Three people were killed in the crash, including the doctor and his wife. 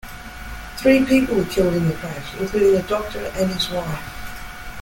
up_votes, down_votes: 0, 2